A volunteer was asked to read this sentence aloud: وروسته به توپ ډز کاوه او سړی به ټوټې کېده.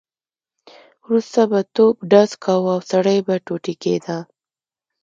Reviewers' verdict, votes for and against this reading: accepted, 2, 0